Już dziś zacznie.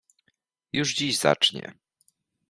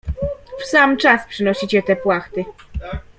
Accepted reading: first